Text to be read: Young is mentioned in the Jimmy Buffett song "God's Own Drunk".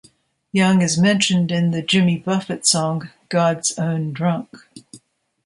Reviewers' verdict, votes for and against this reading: accepted, 2, 0